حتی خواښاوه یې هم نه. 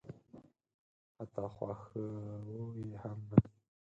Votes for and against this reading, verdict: 2, 4, rejected